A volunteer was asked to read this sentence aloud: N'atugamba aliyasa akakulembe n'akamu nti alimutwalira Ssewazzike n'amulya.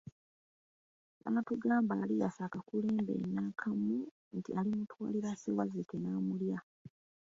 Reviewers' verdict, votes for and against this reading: accepted, 2, 1